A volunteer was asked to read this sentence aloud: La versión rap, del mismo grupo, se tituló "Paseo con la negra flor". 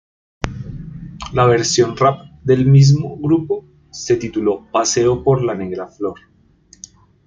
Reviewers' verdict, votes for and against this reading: rejected, 0, 2